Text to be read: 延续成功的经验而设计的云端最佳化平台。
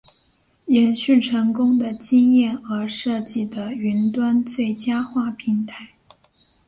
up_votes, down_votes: 3, 1